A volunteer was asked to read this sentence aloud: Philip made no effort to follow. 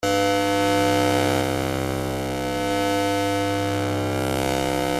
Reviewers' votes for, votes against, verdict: 0, 2, rejected